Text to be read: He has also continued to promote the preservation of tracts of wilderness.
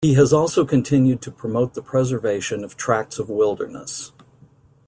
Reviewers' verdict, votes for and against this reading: accepted, 2, 0